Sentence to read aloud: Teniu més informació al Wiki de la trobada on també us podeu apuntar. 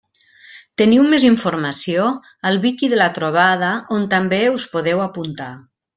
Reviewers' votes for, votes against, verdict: 3, 0, accepted